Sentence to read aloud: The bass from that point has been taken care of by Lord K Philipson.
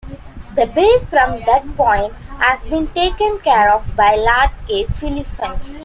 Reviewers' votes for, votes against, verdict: 1, 2, rejected